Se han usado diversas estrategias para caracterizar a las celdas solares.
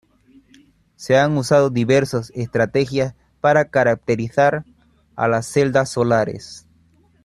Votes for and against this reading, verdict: 2, 0, accepted